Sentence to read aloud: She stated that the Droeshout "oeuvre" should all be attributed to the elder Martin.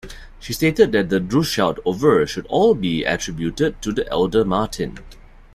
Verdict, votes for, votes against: rejected, 1, 2